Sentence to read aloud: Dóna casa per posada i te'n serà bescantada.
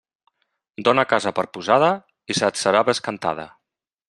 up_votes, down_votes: 0, 2